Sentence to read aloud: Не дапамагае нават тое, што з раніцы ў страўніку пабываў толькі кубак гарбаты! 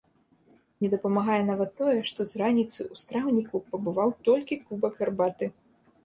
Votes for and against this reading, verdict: 2, 0, accepted